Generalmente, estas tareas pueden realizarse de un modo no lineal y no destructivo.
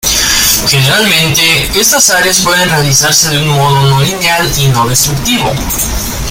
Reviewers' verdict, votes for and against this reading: rejected, 0, 2